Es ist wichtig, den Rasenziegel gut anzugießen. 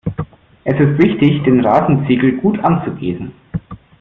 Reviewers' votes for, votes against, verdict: 2, 0, accepted